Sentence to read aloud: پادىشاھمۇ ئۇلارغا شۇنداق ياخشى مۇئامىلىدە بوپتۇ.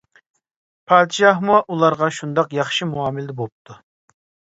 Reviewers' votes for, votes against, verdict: 2, 0, accepted